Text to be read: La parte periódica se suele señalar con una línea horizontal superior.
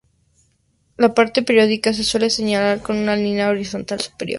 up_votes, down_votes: 2, 0